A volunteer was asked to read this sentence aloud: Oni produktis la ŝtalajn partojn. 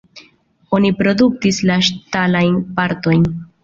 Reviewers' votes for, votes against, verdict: 2, 0, accepted